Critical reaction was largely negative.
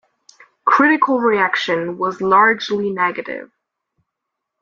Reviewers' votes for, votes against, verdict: 2, 0, accepted